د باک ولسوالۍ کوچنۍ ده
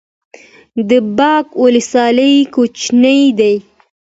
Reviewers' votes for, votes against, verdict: 2, 0, accepted